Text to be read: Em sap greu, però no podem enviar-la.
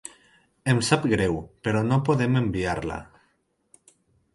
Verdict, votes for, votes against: accepted, 4, 0